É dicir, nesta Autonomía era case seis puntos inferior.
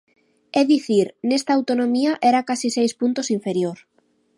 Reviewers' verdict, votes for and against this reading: accepted, 2, 0